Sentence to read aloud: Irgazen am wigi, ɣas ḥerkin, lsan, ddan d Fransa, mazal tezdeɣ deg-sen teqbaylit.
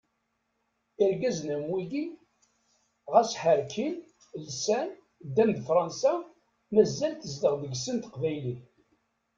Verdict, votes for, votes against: rejected, 1, 2